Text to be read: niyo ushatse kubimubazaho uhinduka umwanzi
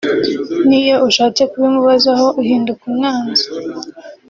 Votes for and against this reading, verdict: 0, 2, rejected